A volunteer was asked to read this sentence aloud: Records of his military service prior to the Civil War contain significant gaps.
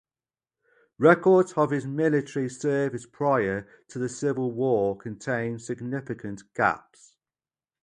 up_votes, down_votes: 2, 0